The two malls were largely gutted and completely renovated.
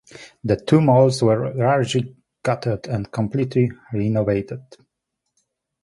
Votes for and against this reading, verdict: 2, 1, accepted